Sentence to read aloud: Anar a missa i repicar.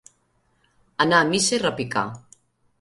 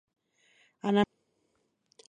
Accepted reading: first